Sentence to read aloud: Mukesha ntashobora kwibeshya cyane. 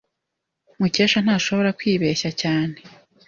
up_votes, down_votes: 2, 0